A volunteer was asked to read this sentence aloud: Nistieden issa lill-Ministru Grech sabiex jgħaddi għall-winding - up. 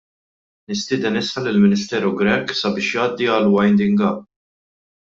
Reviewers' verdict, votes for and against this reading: rejected, 1, 2